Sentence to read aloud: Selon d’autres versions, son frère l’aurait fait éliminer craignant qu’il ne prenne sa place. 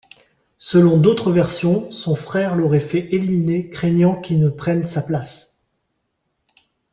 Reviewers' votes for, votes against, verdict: 2, 0, accepted